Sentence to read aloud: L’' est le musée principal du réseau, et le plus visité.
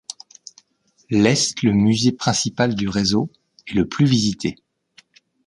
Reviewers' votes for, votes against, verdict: 1, 2, rejected